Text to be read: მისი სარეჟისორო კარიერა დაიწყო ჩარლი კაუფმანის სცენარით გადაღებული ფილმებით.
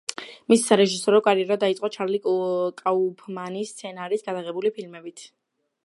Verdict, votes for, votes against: rejected, 1, 2